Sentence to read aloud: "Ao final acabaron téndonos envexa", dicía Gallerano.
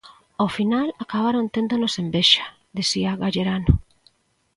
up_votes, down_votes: 2, 1